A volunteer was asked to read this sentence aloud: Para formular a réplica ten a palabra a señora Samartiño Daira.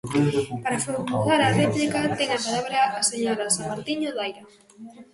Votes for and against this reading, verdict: 0, 2, rejected